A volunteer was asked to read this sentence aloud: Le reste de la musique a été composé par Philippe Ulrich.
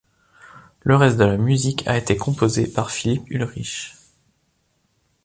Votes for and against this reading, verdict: 2, 0, accepted